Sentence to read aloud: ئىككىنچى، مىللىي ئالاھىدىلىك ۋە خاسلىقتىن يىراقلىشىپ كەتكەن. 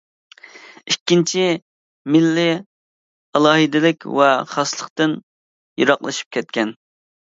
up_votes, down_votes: 2, 0